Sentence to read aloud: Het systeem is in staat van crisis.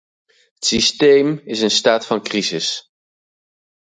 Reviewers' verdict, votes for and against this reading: rejected, 2, 2